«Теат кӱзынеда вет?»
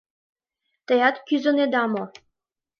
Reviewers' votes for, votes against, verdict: 3, 4, rejected